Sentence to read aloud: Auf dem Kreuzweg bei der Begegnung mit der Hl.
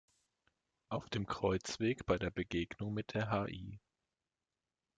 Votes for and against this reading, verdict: 1, 2, rejected